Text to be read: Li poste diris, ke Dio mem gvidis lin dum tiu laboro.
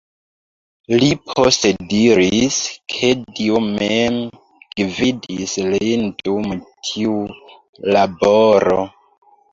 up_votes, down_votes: 2, 1